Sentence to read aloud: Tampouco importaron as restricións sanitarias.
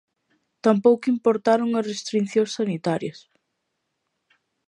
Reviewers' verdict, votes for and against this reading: rejected, 0, 2